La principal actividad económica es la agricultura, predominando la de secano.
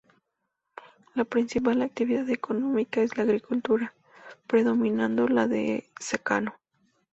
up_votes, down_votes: 2, 0